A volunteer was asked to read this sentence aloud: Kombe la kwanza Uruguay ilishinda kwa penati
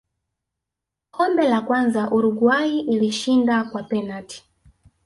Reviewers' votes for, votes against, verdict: 2, 1, accepted